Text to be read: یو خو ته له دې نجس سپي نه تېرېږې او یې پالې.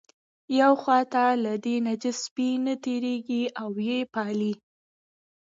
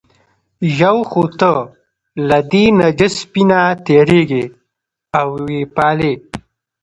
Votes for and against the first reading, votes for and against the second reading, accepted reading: 1, 2, 2, 0, second